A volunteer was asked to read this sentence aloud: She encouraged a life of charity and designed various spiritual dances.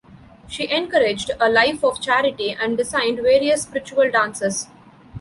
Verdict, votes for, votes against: rejected, 0, 2